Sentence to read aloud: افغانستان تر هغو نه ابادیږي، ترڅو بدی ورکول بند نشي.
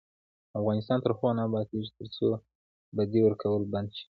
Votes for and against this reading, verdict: 2, 0, accepted